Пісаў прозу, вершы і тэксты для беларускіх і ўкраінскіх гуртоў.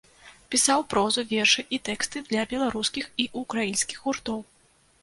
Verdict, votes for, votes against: accepted, 2, 0